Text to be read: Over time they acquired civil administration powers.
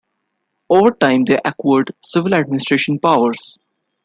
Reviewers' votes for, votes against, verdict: 1, 2, rejected